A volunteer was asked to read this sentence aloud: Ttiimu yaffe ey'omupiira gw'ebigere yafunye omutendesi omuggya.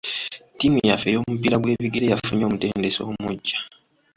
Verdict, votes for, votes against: rejected, 0, 2